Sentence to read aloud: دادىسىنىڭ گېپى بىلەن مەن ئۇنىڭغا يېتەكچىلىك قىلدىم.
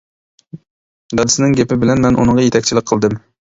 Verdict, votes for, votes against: accepted, 2, 0